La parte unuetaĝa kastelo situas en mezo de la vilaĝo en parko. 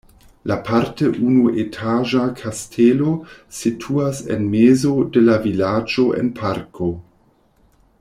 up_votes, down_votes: 1, 2